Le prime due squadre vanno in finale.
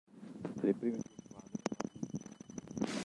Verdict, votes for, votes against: rejected, 0, 2